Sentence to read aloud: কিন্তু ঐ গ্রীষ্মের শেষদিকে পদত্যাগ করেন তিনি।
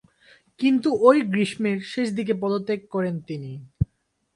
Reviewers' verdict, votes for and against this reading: rejected, 2, 4